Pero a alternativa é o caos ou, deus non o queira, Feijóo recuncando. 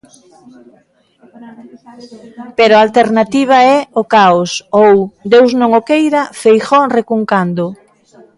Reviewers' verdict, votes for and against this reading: rejected, 1, 2